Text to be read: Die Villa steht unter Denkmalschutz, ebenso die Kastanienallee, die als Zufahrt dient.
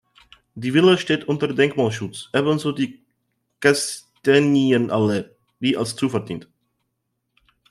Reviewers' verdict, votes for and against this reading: accepted, 2, 0